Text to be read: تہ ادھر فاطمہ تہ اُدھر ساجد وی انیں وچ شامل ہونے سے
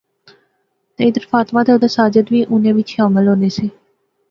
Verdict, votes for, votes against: accepted, 2, 0